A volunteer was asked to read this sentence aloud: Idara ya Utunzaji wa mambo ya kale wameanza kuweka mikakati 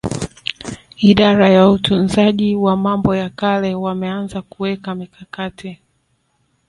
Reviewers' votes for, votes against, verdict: 2, 3, rejected